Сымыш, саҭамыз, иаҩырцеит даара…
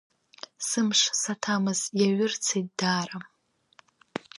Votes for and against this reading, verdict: 1, 2, rejected